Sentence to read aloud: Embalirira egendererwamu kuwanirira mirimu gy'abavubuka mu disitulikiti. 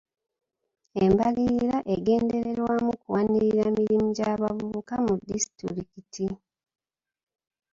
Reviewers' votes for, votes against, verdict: 2, 0, accepted